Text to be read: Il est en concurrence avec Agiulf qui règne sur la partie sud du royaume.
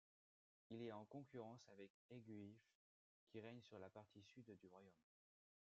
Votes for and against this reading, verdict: 1, 2, rejected